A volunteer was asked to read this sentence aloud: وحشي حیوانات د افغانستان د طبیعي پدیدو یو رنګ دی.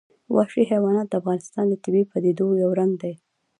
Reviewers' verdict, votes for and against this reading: accepted, 2, 0